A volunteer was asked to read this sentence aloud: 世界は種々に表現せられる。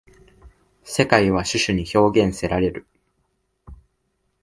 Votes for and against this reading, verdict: 2, 0, accepted